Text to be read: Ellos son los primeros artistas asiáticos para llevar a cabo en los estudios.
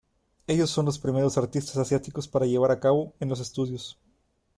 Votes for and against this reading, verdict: 2, 0, accepted